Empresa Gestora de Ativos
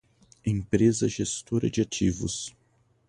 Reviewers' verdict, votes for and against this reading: accepted, 2, 0